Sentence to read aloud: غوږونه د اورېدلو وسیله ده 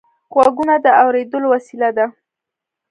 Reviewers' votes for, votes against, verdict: 2, 0, accepted